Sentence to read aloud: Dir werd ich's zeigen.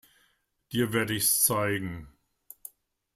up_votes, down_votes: 2, 0